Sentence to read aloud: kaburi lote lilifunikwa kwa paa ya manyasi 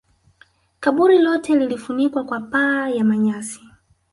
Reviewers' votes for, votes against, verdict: 1, 2, rejected